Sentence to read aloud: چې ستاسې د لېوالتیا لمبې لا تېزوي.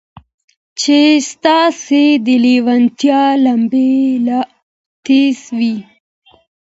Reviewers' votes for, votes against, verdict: 1, 2, rejected